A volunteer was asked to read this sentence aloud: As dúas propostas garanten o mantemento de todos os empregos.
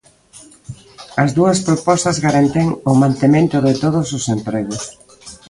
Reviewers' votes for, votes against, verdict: 1, 2, rejected